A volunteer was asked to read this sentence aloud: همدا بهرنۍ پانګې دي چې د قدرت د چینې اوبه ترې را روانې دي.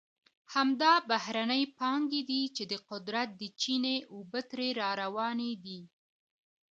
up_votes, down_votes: 2, 1